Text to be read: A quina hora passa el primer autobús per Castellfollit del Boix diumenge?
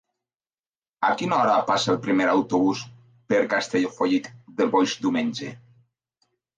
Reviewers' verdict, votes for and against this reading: accepted, 2, 0